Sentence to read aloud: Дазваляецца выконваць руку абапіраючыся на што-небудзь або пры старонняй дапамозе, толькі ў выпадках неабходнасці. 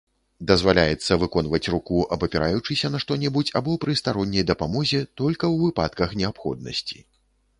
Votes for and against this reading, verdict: 1, 2, rejected